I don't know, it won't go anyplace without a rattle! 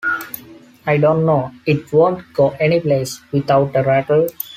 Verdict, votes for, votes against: accepted, 2, 0